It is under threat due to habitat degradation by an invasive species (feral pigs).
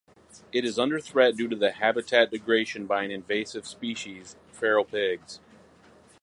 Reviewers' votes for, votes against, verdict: 0, 4, rejected